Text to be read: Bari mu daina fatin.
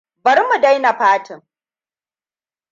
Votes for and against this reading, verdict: 2, 0, accepted